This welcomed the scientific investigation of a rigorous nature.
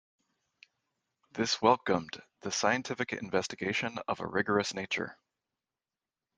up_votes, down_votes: 2, 0